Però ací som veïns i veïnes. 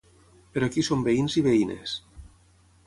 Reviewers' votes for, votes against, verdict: 0, 3, rejected